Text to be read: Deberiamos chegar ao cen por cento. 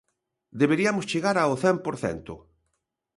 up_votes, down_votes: 1, 2